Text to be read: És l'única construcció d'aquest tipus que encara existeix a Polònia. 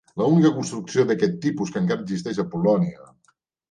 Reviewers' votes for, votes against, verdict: 0, 2, rejected